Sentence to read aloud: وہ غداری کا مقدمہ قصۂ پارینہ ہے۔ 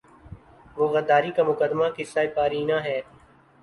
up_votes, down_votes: 2, 0